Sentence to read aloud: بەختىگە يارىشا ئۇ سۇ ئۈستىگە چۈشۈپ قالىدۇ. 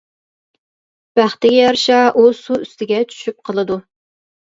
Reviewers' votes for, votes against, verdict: 2, 1, accepted